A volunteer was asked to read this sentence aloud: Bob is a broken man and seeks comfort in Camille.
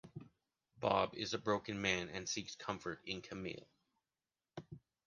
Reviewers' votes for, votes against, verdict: 3, 0, accepted